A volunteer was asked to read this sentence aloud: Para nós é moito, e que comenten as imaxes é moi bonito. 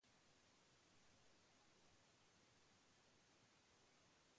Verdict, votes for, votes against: rejected, 1, 2